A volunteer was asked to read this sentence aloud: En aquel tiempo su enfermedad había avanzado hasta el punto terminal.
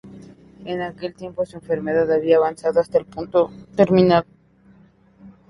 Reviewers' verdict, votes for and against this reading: accepted, 2, 0